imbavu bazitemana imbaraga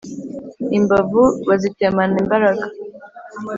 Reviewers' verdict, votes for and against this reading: accepted, 2, 0